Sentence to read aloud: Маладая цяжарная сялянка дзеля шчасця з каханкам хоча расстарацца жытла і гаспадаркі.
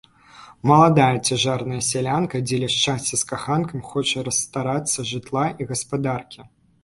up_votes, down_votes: 3, 0